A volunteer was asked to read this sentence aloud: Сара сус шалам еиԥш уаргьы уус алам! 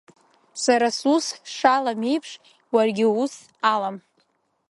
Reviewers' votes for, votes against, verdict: 2, 0, accepted